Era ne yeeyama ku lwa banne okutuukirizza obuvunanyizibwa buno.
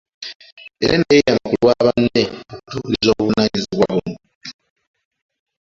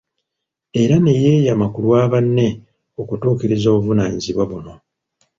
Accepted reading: second